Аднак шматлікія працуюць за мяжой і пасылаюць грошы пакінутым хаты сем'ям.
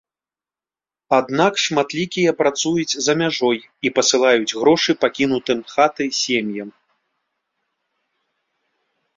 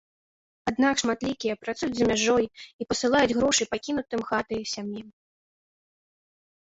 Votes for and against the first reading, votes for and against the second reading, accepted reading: 2, 0, 1, 2, first